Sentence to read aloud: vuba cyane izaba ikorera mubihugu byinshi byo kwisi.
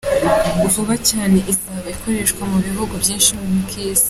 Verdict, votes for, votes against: accepted, 2, 1